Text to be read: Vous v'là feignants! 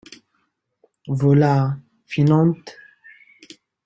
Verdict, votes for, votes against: rejected, 0, 2